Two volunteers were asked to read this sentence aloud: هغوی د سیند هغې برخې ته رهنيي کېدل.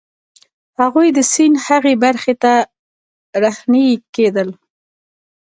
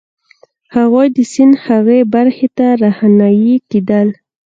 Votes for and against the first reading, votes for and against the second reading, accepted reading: 2, 0, 1, 2, first